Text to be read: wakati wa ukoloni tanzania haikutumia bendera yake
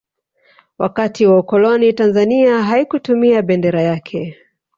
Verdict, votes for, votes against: rejected, 0, 2